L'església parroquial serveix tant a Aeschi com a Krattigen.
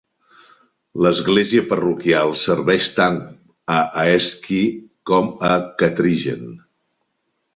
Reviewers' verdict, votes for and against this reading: rejected, 0, 2